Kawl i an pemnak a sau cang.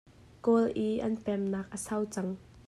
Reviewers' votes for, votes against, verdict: 2, 0, accepted